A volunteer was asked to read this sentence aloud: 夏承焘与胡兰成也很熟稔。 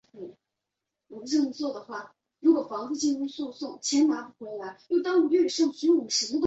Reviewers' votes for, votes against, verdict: 0, 3, rejected